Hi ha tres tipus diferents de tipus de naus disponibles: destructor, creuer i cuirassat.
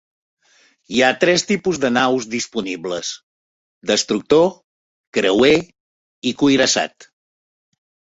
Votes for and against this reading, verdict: 1, 2, rejected